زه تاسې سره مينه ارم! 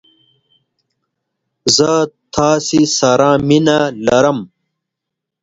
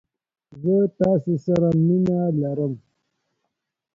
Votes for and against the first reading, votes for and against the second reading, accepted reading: 2, 0, 1, 2, first